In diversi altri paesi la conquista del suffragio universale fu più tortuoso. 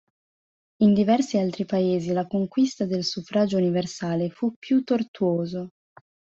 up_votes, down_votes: 2, 0